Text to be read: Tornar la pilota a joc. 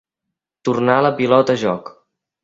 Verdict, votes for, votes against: accepted, 2, 0